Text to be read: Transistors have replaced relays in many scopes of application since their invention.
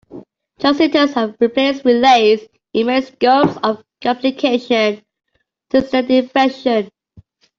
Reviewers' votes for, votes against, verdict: 1, 2, rejected